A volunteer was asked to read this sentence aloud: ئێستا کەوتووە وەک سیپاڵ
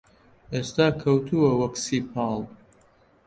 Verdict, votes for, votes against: accepted, 2, 0